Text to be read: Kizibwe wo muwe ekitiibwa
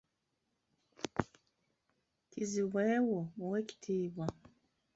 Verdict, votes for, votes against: accepted, 2, 0